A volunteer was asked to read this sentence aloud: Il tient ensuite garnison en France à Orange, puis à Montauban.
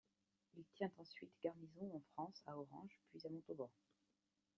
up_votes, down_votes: 1, 2